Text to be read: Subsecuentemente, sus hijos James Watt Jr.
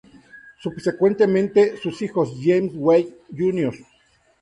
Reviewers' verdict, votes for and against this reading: rejected, 0, 2